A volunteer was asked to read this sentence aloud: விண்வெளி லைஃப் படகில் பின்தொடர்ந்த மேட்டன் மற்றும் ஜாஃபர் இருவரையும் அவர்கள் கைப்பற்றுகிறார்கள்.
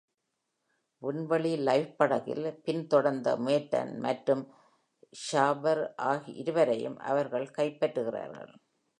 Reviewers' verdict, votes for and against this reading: accepted, 2, 1